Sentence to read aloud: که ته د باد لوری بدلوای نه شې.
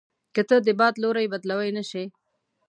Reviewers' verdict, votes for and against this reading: accepted, 2, 0